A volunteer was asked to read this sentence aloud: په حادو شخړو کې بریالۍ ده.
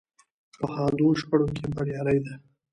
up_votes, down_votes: 2, 1